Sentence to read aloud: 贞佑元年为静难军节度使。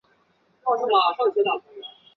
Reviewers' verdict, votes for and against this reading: rejected, 0, 2